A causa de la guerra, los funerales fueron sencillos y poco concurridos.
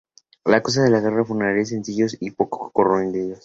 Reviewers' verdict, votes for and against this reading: accepted, 2, 0